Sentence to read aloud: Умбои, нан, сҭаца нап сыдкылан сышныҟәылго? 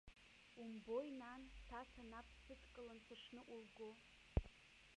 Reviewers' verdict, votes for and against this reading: rejected, 1, 2